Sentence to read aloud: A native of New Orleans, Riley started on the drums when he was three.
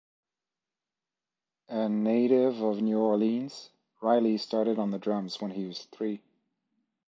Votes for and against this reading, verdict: 2, 0, accepted